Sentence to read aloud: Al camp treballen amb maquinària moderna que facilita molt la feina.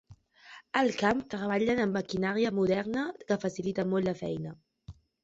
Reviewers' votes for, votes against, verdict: 2, 0, accepted